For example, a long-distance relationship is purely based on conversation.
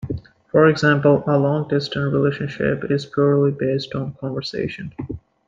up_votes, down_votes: 2, 0